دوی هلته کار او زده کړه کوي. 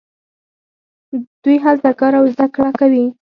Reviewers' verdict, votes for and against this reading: rejected, 4, 6